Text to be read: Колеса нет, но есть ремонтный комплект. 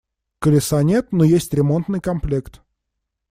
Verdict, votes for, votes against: accepted, 2, 0